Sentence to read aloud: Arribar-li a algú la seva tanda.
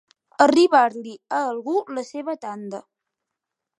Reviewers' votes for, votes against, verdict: 3, 0, accepted